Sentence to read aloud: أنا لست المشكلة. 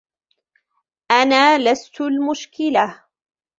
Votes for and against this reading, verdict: 2, 0, accepted